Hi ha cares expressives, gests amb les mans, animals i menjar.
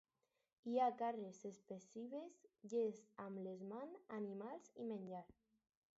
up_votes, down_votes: 4, 0